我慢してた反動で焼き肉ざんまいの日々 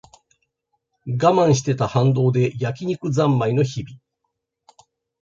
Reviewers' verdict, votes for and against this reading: accepted, 2, 0